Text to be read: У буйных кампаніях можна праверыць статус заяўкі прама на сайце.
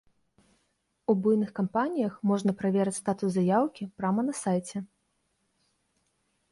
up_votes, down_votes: 0, 2